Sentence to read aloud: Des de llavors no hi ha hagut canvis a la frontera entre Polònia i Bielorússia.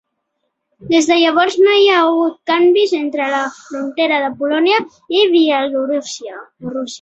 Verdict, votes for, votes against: rejected, 0, 3